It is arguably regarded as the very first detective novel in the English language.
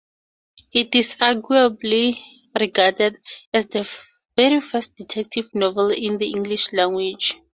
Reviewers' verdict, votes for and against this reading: accepted, 2, 0